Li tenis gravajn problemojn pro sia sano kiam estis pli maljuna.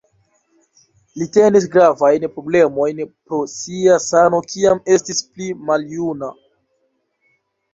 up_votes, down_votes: 2, 0